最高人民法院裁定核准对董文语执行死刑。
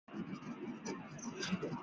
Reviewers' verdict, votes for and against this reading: rejected, 1, 2